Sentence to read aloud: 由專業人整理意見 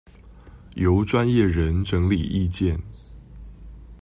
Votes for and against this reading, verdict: 2, 0, accepted